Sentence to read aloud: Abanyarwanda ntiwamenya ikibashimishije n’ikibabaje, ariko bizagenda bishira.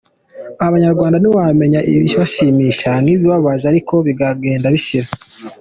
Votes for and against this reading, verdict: 2, 0, accepted